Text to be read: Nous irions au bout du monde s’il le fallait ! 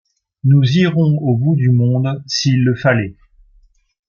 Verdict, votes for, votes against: rejected, 1, 2